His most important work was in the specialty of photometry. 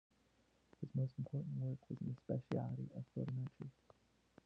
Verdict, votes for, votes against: rejected, 0, 2